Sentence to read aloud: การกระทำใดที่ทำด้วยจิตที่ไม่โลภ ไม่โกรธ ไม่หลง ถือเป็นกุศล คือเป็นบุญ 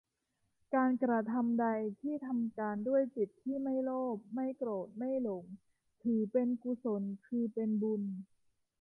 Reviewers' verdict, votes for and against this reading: rejected, 0, 2